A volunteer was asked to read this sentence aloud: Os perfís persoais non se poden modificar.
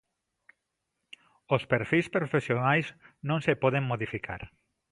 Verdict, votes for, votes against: rejected, 0, 2